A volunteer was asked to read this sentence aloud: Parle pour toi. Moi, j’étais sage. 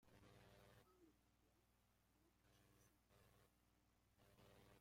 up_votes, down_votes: 0, 2